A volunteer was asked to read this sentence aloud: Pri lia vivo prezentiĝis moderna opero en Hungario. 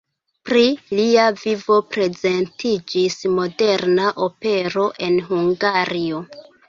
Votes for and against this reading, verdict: 0, 2, rejected